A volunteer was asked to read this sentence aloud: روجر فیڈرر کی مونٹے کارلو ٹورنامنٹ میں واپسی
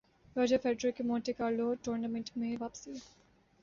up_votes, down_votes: 2, 0